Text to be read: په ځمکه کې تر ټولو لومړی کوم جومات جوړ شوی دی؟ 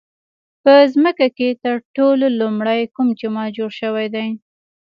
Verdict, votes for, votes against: accepted, 2, 0